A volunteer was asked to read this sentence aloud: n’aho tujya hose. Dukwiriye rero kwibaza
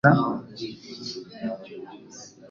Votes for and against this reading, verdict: 2, 3, rejected